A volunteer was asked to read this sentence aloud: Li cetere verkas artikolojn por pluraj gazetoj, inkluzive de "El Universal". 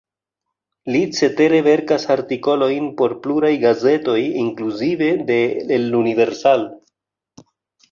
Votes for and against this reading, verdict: 2, 1, accepted